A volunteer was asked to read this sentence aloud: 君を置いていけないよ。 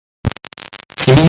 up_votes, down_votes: 0, 2